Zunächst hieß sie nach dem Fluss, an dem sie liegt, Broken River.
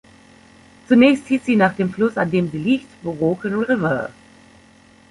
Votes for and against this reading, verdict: 1, 2, rejected